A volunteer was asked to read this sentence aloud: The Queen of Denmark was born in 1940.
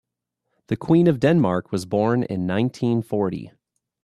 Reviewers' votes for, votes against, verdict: 0, 2, rejected